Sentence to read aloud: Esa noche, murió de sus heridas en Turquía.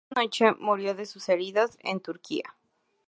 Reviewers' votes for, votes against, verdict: 0, 2, rejected